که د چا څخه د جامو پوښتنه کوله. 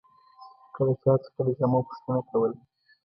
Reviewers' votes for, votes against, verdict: 2, 0, accepted